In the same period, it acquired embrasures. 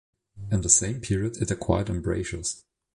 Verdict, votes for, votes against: accepted, 2, 0